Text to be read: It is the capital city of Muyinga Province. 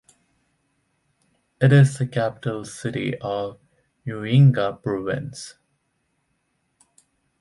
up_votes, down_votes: 2, 0